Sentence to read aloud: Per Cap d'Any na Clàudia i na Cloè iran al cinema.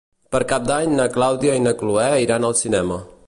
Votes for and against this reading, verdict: 2, 0, accepted